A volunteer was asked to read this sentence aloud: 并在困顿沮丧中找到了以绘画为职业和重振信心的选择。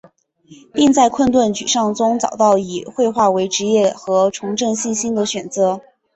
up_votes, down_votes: 2, 0